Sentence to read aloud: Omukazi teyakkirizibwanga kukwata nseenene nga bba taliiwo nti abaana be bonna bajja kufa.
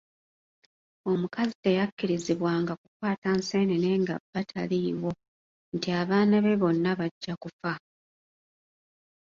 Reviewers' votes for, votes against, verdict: 1, 2, rejected